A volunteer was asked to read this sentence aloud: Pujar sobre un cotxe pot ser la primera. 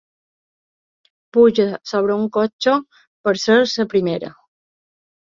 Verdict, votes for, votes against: rejected, 2, 3